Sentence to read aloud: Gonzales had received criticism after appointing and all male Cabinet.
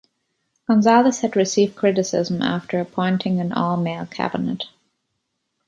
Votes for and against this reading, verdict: 2, 0, accepted